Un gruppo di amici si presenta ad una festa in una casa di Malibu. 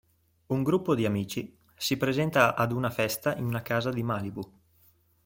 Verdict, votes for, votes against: accepted, 2, 0